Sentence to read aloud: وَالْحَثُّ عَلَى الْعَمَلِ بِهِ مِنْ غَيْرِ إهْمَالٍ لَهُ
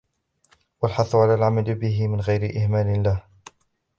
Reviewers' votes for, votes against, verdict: 1, 2, rejected